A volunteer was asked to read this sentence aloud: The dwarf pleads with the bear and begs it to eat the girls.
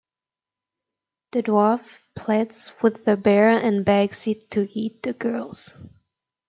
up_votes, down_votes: 0, 2